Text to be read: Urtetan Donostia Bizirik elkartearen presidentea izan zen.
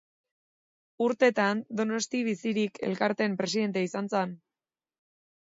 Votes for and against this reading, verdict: 3, 1, accepted